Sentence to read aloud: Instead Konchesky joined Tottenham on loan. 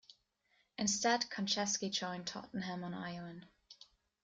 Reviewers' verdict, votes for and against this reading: rejected, 1, 2